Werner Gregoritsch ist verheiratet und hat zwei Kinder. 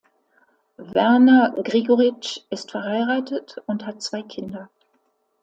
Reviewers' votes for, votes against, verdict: 2, 0, accepted